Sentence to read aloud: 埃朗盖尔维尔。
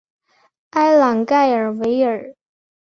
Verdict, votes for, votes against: accepted, 2, 0